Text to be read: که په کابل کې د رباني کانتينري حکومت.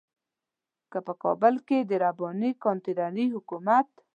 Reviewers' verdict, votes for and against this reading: accepted, 2, 0